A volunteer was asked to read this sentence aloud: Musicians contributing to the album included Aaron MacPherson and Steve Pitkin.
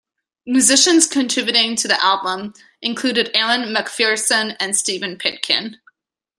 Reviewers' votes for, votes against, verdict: 2, 1, accepted